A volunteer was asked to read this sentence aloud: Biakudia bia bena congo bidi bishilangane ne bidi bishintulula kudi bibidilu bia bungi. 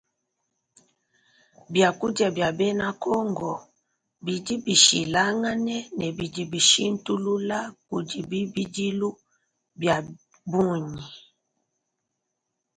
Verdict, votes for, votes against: accepted, 2, 0